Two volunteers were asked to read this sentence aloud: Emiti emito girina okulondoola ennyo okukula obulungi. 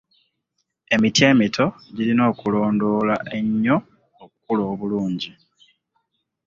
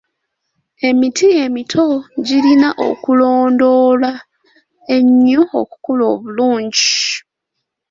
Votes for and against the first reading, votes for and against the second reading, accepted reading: 2, 0, 0, 2, first